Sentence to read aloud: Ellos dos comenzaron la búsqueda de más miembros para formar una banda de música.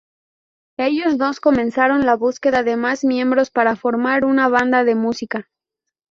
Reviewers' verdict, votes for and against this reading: accepted, 2, 0